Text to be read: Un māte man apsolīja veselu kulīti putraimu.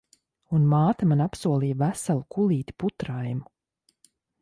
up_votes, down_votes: 2, 0